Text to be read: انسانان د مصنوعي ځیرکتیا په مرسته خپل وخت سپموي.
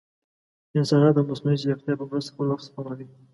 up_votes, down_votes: 2, 0